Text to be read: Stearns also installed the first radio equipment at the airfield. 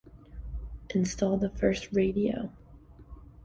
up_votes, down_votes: 0, 2